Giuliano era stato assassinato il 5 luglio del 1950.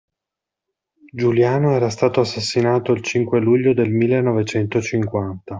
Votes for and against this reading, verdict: 0, 2, rejected